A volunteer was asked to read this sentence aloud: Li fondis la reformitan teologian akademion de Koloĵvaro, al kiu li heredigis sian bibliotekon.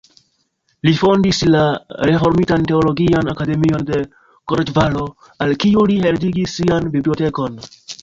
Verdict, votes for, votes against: rejected, 1, 2